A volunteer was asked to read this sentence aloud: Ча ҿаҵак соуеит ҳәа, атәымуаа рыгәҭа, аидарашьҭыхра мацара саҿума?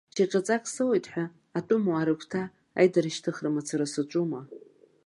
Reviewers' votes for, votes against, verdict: 2, 1, accepted